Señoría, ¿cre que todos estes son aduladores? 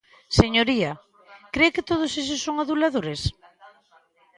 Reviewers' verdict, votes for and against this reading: accepted, 2, 0